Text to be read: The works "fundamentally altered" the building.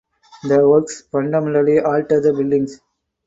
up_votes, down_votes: 2, 4